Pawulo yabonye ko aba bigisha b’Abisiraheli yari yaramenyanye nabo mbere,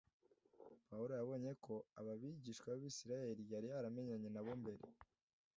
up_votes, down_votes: 2, 0